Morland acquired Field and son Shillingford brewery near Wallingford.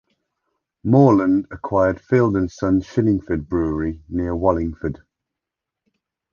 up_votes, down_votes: 2, 0